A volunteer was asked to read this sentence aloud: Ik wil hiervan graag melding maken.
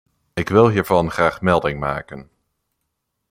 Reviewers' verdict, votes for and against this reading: accepted, 2, 0